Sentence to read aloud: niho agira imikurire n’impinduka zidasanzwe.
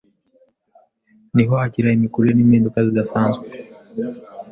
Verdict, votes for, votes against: accepted, 2, 0